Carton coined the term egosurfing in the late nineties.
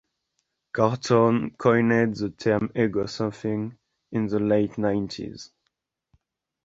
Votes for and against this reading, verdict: 1, 2, rejected